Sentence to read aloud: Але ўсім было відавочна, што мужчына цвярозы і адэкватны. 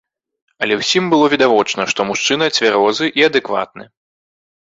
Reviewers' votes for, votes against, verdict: 2, 0, accepted